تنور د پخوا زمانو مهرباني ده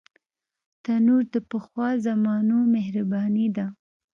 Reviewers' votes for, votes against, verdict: 2, 0, accepted